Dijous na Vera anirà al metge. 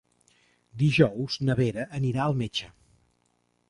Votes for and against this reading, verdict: 3, 0, accepted